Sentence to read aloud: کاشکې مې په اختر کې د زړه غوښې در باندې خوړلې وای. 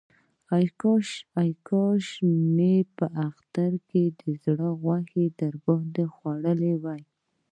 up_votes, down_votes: 2, 1